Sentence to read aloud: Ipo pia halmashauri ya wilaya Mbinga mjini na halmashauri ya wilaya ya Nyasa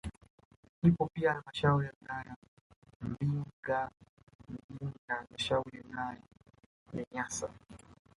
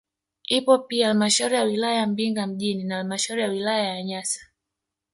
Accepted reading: second